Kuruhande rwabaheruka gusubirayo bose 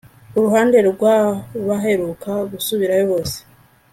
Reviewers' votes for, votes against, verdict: 2, 0, accepted